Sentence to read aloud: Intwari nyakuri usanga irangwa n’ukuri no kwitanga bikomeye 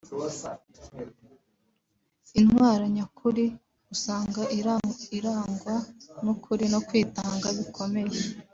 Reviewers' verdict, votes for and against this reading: rejected, 1, 2